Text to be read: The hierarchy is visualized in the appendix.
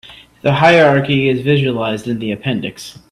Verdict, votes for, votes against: accepted, 2, 0